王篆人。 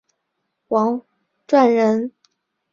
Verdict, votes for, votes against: accepted, 4, 0